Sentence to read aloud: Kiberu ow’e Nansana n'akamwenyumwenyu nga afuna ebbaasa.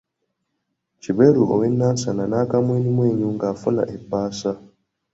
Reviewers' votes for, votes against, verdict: 2, 0, accepted